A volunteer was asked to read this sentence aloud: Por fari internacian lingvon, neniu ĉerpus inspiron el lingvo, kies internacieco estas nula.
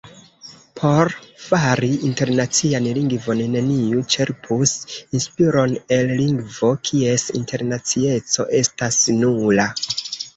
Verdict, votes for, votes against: rejected, 0, 2